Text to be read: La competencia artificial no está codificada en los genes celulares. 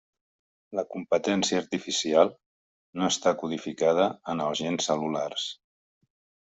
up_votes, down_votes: 0, 2